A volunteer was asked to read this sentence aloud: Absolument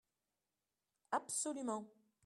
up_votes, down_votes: 2, 0